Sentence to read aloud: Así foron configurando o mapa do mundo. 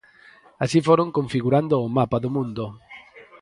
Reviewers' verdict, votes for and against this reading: rejected, 2, 4